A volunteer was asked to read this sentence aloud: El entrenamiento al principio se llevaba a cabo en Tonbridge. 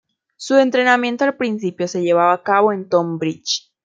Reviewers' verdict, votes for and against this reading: rejected, 0, 2